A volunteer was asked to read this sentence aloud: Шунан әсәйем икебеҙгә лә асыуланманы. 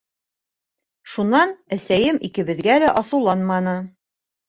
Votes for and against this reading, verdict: 2, 0, accepted